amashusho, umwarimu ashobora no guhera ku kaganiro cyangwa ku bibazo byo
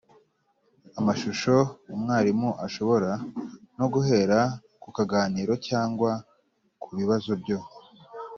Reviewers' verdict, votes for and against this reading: accepted, 3, 1